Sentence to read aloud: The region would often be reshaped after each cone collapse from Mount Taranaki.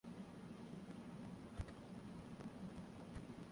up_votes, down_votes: 0, 10